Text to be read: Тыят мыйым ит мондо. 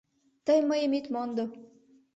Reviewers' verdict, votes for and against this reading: rejected, 0, 2